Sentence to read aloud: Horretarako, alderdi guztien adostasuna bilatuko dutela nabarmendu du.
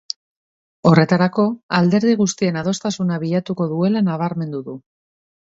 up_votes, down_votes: 1, 2